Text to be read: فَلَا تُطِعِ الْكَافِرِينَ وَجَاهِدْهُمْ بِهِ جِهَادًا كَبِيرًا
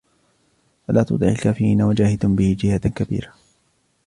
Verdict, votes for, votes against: accepted, 2, 1